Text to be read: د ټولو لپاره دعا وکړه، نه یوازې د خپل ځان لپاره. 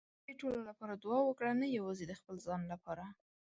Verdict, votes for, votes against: accepted, 2, 0